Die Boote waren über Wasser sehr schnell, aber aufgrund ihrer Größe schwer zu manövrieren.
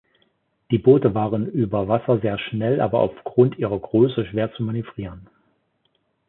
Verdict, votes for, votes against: accepted, 2, 0